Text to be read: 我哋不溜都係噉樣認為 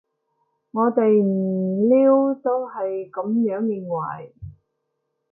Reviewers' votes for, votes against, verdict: 0, 2, rejected